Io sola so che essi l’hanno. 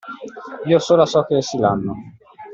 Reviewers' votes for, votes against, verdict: 2, 0, accepted